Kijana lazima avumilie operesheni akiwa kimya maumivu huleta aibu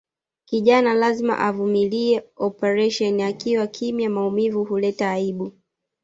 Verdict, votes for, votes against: accepted, 2, 0